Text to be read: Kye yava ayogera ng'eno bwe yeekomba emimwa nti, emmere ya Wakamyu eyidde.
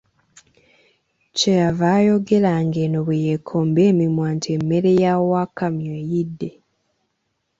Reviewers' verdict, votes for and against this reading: accepted, 2, 0